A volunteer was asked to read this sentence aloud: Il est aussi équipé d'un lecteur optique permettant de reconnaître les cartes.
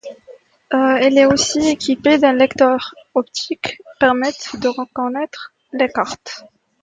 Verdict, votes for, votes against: accepted, 2, 0